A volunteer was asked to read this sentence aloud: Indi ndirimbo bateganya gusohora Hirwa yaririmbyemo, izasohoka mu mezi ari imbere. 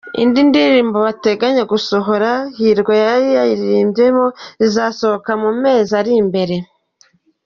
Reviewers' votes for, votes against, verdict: 1, 2, rejected